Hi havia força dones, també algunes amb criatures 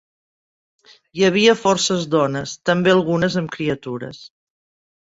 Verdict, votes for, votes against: rejected, 1, 2